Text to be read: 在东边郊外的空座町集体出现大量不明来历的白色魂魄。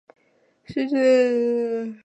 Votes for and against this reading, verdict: 1, 3, rejected